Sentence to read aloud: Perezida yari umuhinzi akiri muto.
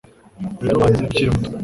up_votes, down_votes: 2, 3